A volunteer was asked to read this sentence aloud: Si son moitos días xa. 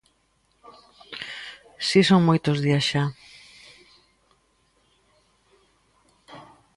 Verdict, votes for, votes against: accepted, 2, 0